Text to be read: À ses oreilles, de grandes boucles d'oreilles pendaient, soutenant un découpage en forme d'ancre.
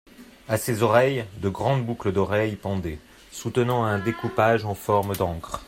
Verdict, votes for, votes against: accepted, 2, 1